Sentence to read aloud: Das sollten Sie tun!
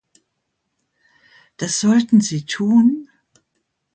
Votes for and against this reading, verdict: 2, 0, accepted